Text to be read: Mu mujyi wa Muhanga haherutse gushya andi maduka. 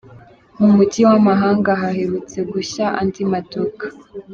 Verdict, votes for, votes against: rejected, 1, 2